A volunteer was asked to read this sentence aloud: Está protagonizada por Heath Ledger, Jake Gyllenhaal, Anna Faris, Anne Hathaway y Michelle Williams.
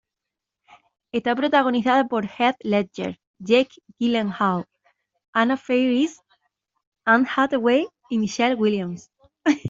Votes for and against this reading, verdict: 1, 2, rejected